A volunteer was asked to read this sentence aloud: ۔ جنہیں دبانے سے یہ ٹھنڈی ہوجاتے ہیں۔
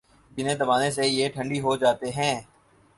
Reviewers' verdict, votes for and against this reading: accepted, 6, 0